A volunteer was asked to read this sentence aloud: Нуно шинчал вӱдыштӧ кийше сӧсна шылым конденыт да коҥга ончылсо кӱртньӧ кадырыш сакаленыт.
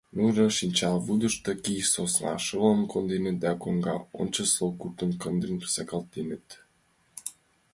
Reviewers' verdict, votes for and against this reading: rejected, 1, 2